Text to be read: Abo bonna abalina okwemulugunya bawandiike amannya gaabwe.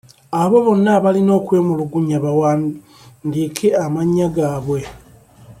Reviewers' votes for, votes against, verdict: 1, 2, rejected